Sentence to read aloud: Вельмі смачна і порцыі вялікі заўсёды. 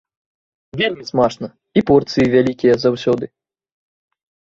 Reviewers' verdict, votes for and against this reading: accepted, 2, 0